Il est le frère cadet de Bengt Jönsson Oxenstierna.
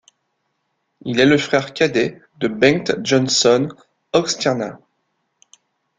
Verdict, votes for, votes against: rejected, 0, 2